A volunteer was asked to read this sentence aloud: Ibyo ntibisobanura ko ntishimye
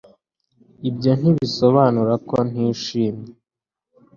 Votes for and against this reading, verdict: 2, 0, accepted